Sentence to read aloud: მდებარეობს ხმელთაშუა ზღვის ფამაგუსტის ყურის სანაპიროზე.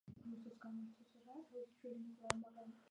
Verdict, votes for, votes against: rejected, 0, 2